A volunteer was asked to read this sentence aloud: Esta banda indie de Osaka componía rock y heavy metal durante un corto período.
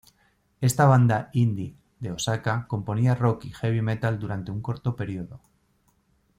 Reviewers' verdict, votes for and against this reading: accepted, 2, 0